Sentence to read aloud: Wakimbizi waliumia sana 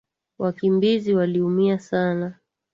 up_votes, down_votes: 3, 0